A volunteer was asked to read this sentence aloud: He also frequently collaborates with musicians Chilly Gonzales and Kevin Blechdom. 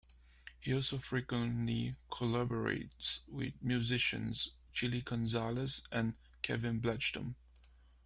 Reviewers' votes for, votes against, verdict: 4, 1, accepted